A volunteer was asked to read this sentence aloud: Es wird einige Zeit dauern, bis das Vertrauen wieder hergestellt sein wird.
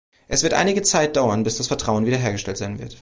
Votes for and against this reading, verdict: 2, 0, accepted